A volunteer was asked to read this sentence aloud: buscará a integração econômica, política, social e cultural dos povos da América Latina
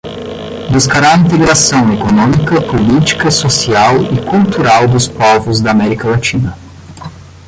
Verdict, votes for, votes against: rejected, 0, 15